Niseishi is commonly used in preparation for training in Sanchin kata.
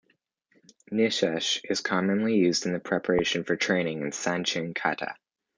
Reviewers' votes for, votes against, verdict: 2, 0, accepted